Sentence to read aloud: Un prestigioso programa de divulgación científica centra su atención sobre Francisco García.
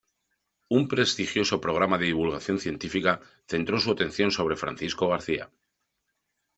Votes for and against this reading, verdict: 1, 2, rejected